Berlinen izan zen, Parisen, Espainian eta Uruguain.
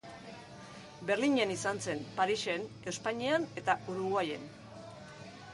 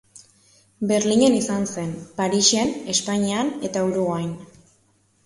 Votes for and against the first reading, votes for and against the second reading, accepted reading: 2, 2, 2, 0, second